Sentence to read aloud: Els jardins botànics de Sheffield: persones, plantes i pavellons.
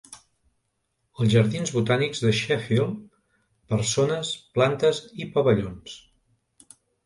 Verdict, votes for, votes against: accepted, 2, 0